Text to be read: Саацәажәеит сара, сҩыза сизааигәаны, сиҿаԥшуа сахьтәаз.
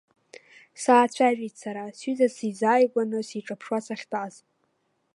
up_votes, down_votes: 2, 0